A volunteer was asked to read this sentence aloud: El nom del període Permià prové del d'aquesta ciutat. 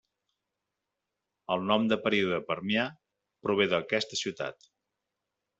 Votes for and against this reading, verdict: 0, 2, rejected